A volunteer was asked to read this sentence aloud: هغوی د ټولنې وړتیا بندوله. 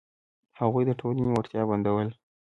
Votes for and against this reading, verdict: 0, 2, rejected